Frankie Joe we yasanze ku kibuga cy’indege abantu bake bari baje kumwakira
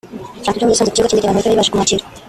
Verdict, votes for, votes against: rejected, 0, 2